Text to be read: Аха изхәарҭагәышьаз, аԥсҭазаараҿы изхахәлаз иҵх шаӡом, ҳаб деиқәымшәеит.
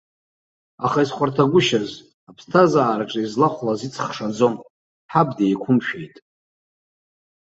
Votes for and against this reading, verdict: 0, 2, rejected